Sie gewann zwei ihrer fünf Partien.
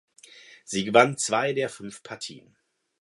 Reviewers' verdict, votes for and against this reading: rejected, 0, 4